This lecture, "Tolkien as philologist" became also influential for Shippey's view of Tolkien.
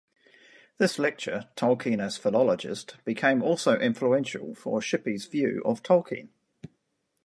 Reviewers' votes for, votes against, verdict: 2, 0, accepted